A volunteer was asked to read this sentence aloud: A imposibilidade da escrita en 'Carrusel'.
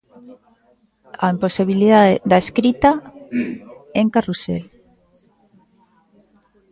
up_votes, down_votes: 0, 2